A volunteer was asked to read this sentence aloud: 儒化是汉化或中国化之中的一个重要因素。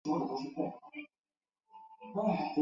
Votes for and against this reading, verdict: 1, 2, rejected